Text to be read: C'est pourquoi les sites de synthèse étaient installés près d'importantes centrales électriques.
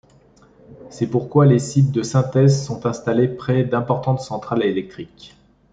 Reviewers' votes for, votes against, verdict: 0, 2, rejected